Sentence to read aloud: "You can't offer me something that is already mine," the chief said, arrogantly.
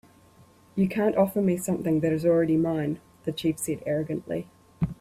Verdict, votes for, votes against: accepted, 3, 0